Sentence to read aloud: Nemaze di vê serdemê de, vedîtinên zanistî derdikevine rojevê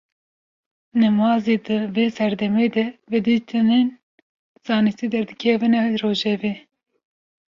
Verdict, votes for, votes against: accepted, 2, 0